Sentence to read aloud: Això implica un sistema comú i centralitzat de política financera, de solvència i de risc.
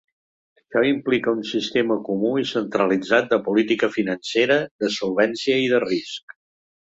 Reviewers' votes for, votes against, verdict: 1, 2, rejected